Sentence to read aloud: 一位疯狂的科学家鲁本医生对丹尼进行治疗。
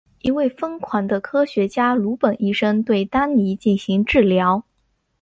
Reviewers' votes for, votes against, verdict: 2, 0, accepted